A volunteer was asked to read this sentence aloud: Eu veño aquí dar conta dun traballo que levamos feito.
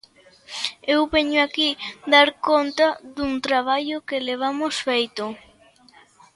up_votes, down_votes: 2, 0